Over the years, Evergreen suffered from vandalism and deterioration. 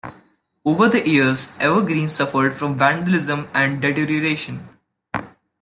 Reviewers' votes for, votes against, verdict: 1, 2, rejected